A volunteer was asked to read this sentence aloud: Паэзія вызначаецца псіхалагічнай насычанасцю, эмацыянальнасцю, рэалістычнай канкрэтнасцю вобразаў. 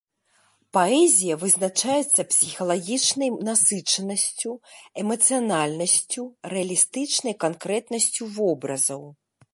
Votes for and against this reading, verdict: 2, 0, accepted